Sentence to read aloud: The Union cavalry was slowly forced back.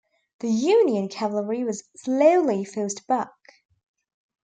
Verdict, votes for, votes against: accepted, 2, 0